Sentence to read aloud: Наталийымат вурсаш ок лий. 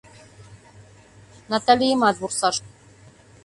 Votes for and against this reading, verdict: 0, 2, rejected